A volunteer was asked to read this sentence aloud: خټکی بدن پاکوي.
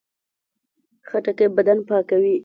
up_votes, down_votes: 2, 0